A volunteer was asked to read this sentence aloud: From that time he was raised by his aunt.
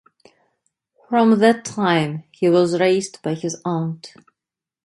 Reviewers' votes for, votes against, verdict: 2, 0, accepted